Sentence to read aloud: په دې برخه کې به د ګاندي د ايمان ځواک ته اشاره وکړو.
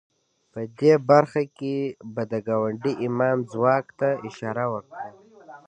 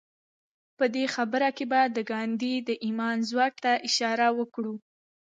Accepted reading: second